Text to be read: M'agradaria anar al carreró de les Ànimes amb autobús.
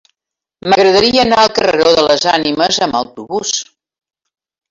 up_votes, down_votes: 1, 2